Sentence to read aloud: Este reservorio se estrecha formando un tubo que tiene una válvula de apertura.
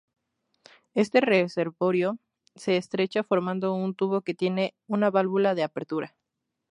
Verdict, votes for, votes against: accepted, 2, 0